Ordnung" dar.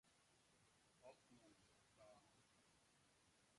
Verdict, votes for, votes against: rejected, 0, 2